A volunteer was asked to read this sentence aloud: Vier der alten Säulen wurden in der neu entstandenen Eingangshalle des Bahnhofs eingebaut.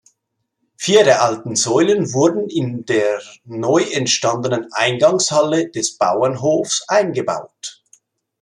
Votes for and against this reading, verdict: 0, 2, rejected